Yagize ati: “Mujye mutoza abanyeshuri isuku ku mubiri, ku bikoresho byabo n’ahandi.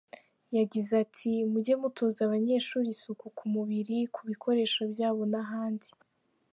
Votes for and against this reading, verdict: 3, 0, accepted